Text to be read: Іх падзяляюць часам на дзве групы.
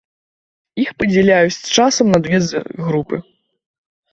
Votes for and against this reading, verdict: 0, 2, rejected